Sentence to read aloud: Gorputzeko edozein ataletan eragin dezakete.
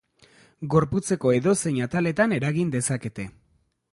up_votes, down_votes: 3, 0